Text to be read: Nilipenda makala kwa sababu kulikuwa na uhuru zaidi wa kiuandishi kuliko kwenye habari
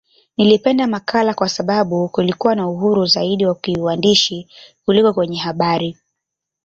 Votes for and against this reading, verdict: 1, 2, rejected